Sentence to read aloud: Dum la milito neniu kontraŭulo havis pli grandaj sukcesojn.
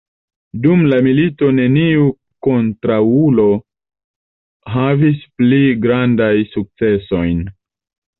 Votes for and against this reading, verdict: 2, 0, accepted